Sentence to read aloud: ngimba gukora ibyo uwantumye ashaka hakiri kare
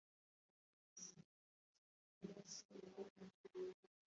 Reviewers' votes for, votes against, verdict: 1, 3, rejected